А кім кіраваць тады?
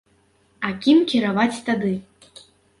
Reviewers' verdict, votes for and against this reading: accepted, 2, 0